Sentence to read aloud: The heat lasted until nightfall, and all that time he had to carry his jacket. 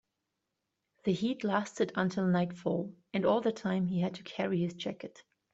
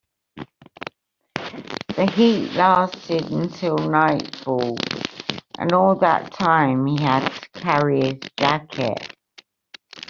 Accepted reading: first